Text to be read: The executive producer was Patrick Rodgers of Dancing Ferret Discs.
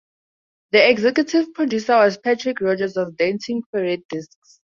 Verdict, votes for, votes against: accepted, 2, 0